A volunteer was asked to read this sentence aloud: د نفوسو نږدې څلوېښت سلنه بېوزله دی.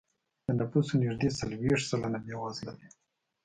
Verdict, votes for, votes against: accepted, 2, 0